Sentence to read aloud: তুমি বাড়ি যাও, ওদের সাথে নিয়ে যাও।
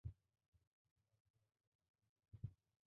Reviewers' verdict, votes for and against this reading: rejected, 0, 2